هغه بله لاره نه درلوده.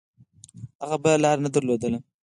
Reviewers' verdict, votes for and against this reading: accepted, 4, 0